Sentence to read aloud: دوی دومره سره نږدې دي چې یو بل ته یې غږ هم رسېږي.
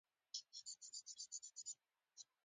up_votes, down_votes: 0, 2